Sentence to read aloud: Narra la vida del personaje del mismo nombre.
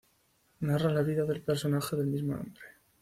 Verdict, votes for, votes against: rejected, 1, 2